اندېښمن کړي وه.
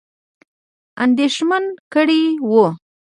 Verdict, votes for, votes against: accepted, 2, 1